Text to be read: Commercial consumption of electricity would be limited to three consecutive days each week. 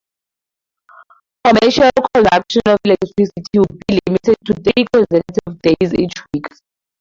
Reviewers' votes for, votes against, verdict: 0, 2, rejected